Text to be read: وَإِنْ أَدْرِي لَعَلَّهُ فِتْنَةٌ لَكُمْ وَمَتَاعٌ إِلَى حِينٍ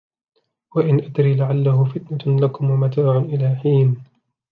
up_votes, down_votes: 4, 0